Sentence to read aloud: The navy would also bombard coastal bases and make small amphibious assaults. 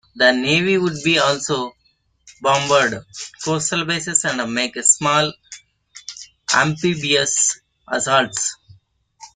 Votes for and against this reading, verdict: 0, 2, rejected